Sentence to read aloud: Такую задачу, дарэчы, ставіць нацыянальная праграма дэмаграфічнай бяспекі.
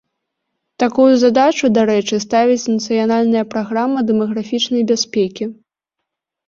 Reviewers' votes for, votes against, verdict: 2, 1, accepted